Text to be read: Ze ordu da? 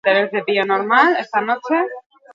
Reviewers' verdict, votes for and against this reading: rejected, 8, 12